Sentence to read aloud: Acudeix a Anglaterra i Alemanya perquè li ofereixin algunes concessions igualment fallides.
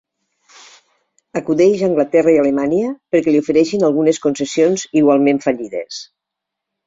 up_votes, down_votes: 1, 2